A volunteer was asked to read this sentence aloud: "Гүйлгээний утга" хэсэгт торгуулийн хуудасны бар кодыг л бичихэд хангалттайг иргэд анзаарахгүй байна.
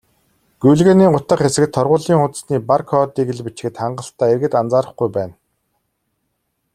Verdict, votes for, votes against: rejected, 1, 2